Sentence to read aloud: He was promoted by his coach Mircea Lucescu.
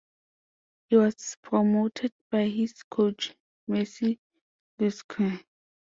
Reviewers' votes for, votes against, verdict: 0, 2, rejected